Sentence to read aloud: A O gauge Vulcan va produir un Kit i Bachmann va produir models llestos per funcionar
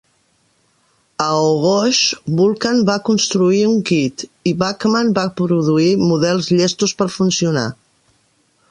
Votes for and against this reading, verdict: 1, 2, rejected